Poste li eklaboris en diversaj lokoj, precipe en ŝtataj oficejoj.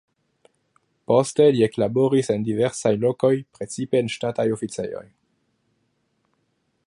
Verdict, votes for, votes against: accepted, 2, 0